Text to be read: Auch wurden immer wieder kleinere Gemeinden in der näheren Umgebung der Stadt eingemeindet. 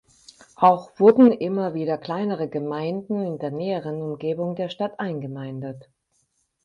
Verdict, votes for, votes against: accepted, 4, 0